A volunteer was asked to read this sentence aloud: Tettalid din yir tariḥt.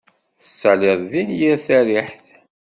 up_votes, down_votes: 1, 2